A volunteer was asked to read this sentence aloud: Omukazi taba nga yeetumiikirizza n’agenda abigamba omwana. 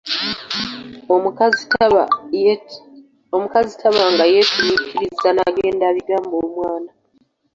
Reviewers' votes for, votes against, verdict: 1, 2, rejected